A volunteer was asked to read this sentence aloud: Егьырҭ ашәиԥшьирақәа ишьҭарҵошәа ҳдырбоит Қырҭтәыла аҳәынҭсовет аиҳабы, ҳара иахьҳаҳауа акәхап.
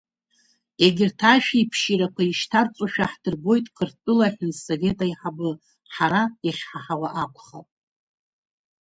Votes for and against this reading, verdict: 2, 0, accepted